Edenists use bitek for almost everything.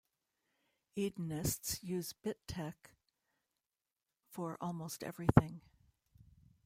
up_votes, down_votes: 2, 0